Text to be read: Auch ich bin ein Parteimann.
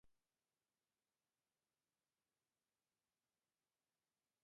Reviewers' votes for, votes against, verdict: 0, 2, rejected